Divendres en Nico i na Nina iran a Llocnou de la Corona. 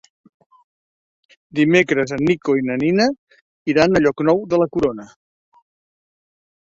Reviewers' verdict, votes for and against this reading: rejected, 1, 2